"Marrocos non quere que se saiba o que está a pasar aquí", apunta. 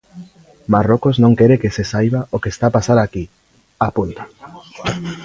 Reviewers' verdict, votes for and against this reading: rejected, 0, 2